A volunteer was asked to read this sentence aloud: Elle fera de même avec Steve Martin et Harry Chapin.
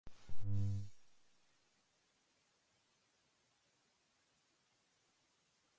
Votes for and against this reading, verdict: 0, 2, rejected